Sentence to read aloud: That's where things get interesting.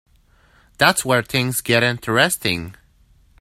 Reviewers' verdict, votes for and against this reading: accepted, 2, 1